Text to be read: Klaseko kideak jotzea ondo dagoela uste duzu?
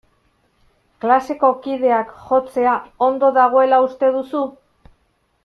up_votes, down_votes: 2, 0